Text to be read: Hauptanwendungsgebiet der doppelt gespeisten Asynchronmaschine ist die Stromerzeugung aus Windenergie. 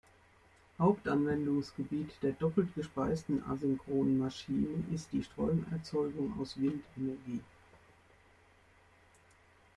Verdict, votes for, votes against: rejected, 1, 2